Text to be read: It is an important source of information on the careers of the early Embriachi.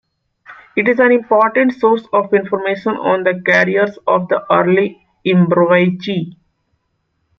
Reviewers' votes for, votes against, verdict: 2, 0, accepted